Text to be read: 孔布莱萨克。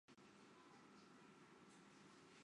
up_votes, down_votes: 1, 2